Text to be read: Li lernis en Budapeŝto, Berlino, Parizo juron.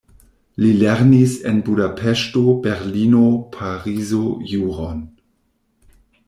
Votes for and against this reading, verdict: 2, 0, accepted